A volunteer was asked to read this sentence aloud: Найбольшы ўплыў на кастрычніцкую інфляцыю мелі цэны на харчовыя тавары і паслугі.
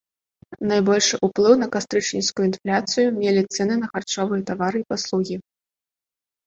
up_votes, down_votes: 2, 0